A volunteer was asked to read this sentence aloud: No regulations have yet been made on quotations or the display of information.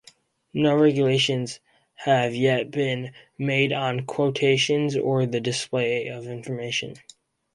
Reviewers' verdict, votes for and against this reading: accepted, 2, 0